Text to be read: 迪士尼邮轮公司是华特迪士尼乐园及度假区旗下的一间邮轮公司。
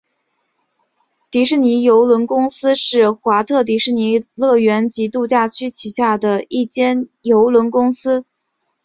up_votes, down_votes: 2, 1